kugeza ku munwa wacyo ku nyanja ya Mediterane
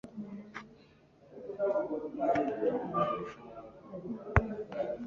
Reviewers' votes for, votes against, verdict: 0, 2, rejected